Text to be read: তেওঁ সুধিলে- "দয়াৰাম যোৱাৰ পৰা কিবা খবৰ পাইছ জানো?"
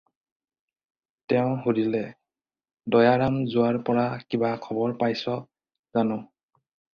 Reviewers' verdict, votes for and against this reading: accepted, 4, 0